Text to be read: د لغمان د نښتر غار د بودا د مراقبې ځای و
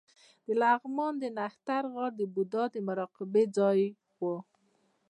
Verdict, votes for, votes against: rejected, 1, 2